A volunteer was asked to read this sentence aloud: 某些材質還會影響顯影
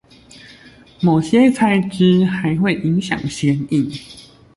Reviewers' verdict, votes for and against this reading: accepted, 2, 0